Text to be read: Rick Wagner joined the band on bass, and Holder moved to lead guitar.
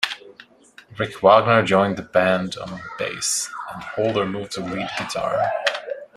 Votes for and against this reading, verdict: 1, 2, rejected